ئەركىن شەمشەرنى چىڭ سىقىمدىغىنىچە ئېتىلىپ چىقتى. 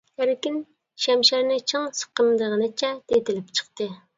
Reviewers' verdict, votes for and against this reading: accepted, 2, 0